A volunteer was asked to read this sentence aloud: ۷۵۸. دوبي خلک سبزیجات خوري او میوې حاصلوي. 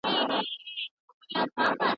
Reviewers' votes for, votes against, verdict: 0, 2, rejected